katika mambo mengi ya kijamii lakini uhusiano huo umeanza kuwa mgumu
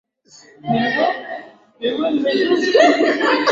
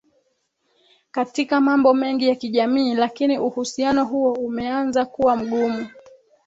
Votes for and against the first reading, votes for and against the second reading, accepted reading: 0, 2, 2, 0, second